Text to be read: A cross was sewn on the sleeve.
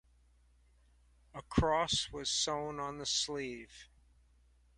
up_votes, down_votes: 2, 0